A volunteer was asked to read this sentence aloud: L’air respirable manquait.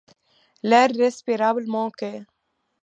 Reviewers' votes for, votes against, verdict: 2, 0, accepted